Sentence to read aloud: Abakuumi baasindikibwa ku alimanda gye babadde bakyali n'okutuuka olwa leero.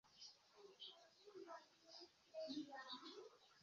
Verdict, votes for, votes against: rejected, 0, 2